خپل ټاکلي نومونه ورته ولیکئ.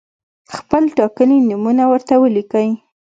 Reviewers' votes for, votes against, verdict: 2, 0, accepted